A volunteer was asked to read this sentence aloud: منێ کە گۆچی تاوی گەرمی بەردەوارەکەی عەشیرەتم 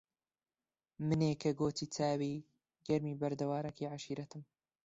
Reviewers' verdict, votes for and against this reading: accepted, 2, 0